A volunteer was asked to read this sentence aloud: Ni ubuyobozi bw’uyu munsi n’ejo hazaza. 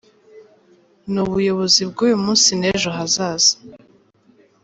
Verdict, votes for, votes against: accepted, 2, 1